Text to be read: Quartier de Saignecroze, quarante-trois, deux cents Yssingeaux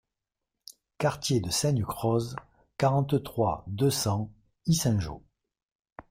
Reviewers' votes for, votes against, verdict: 2, 0, accepted